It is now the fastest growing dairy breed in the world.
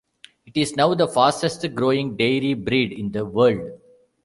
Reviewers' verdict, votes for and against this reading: rejected, 1, 2